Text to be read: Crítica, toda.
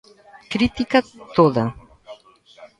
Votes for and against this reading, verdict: 2, 0, accepted